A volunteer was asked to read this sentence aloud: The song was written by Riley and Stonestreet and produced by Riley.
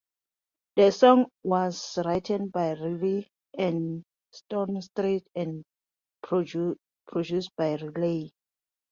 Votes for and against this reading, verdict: 0, 2, rejected